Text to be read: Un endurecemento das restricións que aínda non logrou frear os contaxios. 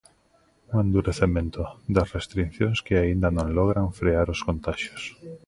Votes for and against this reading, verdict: 0, 2, rejected